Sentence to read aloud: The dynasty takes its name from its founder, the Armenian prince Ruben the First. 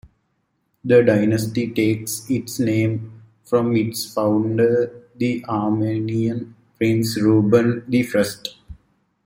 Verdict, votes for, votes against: rejected, 0, 2